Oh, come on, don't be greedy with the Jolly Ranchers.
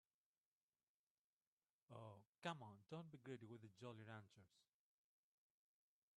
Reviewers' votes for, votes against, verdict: 2, 4, rejected